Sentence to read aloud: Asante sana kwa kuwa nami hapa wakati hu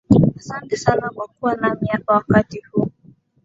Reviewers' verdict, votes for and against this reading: accepted, 2, 1